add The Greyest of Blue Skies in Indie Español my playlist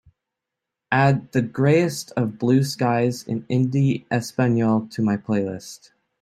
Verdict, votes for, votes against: rejected, 0, 2